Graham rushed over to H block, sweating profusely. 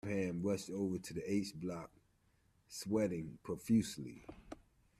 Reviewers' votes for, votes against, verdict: 0, 2, rejected